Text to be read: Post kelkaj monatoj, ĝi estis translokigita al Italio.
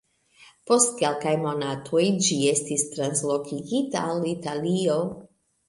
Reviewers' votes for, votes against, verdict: 2, 1, accepted